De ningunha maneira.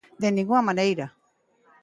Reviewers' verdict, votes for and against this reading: accepted, 3, 0